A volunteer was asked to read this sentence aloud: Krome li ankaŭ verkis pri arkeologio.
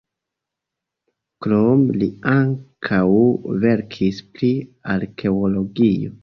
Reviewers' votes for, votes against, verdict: 0, 2, rejected